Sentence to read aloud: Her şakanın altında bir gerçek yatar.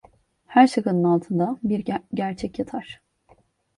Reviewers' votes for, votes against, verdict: 1, 2, rejected